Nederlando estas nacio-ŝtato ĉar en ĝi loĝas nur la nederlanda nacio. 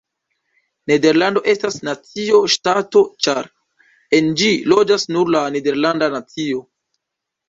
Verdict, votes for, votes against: accepted, 3, 0